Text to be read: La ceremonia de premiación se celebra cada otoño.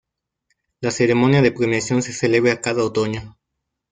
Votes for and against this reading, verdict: 2, 0, accepted